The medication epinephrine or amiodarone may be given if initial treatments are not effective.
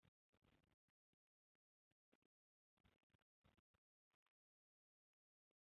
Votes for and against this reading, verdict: 1, 3, rejected